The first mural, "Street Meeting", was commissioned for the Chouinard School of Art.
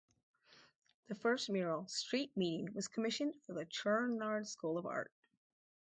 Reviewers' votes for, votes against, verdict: 0, 2, rejected